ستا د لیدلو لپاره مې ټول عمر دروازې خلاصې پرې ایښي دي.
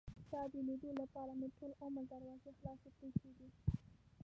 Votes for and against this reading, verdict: 1, 2, rejected